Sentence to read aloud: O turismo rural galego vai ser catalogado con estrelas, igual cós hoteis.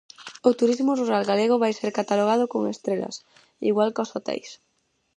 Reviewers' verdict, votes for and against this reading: accepted, 4, 0